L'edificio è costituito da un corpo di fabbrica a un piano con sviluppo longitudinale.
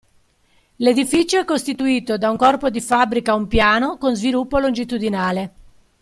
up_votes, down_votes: 2, 0